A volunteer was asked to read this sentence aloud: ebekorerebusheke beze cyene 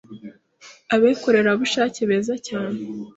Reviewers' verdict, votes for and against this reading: rejected, 0, 2